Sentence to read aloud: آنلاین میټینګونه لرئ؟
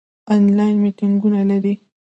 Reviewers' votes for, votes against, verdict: 1, 2, rejected